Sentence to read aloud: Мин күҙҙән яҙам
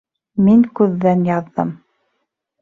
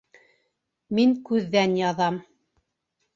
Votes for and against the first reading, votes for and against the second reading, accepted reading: 0, 2, 2, 1, second